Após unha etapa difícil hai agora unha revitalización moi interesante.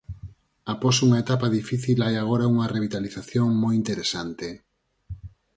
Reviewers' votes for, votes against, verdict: 4, 2, accepted